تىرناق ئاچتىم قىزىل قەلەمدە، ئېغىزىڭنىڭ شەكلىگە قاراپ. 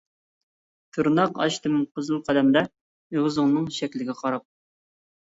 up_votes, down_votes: 2, 0